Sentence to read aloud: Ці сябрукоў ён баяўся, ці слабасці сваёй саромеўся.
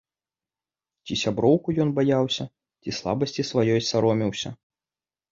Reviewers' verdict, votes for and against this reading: rejected, 1, 2